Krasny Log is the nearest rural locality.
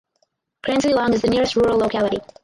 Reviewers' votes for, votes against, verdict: 2, 4, rejected